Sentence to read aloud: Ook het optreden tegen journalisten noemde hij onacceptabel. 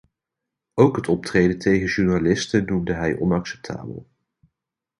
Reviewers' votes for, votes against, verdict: 0, 2, rejected